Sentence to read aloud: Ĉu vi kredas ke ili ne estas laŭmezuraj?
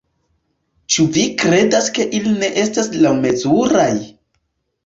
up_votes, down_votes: 2, 1